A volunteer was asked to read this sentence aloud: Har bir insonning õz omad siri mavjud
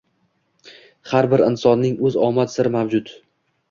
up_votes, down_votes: 2, 0